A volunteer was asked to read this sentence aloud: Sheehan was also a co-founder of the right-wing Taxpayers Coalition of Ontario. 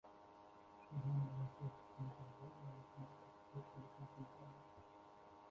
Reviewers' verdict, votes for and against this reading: rejected, 0, 2